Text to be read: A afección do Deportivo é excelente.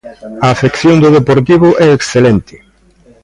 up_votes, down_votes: 1, 2